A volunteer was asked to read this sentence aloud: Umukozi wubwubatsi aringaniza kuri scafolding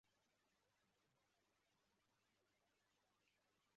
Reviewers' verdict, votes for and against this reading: rejected, 0, 2